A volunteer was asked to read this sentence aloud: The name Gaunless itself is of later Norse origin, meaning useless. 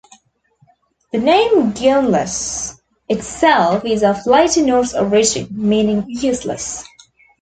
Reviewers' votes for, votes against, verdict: 2, 0, accepted